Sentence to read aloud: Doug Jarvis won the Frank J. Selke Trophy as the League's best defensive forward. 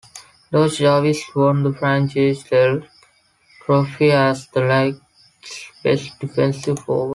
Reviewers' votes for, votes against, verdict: 1, 2, rejected